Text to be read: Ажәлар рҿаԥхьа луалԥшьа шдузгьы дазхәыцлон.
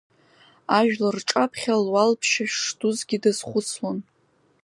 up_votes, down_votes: 2, 0